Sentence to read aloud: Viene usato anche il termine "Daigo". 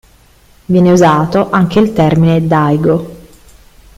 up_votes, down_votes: 2, 0